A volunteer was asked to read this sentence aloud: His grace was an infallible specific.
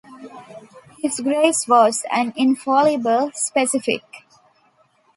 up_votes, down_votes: 1, 2